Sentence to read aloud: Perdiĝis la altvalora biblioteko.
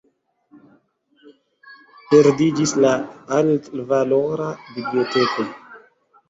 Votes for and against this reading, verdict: 2, 0, accepted